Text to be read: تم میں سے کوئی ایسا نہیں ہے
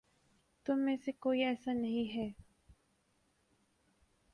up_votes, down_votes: 2, 2